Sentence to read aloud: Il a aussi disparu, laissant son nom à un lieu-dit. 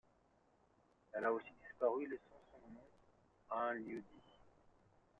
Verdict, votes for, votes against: rejected, 0, 2